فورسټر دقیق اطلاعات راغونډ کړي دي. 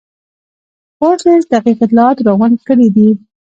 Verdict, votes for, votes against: rejected, 1, 2